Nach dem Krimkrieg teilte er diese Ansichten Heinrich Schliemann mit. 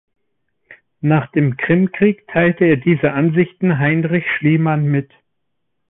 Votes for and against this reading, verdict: 2, 0, accepted